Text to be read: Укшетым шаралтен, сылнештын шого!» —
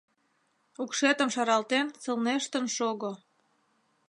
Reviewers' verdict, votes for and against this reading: accepted, 3, 0